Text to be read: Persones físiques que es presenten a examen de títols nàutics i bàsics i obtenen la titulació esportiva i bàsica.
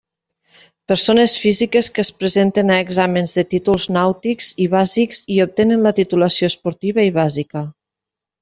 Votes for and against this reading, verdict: 0, 2, rejected